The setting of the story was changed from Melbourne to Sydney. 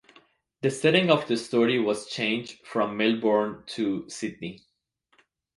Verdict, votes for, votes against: accepted, 2, 0